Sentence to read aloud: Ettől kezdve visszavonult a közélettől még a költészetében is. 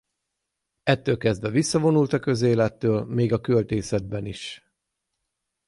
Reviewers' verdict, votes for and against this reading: accepted, 6, 0